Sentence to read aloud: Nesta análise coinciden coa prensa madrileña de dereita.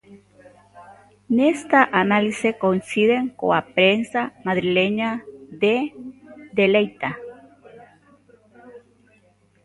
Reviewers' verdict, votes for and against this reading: rejected, 0, 2